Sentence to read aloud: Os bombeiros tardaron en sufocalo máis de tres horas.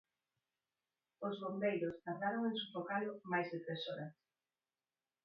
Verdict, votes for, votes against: rejected, 0, 4